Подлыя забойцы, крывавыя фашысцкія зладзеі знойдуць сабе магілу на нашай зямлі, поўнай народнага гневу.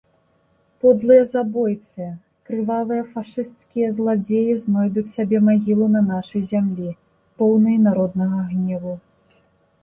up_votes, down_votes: 2, 0